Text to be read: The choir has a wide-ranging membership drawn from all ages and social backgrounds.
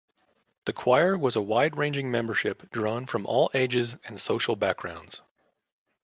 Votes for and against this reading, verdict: 1, 2, rejected